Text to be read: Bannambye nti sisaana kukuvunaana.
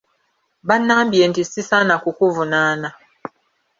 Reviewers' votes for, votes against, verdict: 1, 2, rejected